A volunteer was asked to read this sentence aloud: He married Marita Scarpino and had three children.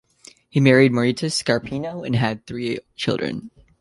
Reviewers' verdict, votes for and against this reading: accepted, 2, 0